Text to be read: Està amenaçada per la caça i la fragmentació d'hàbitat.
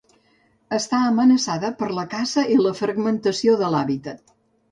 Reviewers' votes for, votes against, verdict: 0, 2, rejected